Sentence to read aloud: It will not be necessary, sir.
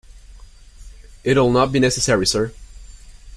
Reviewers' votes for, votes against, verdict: 0, 2, rejected